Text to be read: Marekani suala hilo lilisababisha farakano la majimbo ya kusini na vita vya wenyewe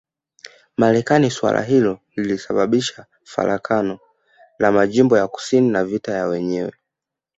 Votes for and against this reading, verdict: 1, 2, rejected